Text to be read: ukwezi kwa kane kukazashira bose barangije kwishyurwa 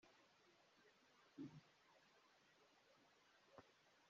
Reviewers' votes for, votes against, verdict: 0, 2, rejected